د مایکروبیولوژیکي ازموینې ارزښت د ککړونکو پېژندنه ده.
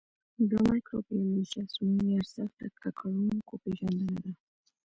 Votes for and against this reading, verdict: 2, 0, accepted